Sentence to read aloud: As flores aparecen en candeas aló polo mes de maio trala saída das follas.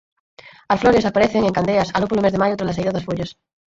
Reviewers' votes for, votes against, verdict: 0, 4, rejected